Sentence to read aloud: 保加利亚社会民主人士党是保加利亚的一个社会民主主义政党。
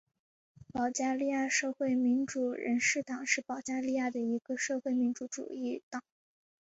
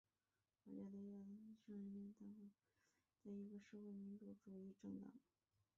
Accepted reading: first